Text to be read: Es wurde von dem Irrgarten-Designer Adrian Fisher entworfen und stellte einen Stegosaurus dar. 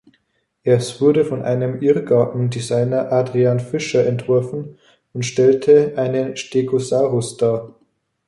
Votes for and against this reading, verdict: 1, 2, rejected